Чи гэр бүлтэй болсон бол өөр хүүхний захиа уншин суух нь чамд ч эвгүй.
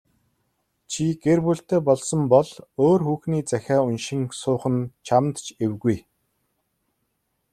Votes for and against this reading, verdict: 2, 0, accepted